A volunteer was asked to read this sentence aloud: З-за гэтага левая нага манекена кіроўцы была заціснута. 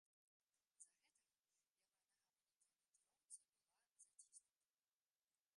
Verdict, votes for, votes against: rejected, 0, 2